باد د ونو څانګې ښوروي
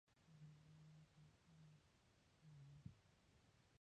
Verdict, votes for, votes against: rejected, 1, 2